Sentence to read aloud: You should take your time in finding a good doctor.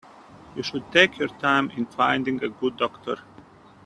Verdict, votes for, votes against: accepted, 2, 0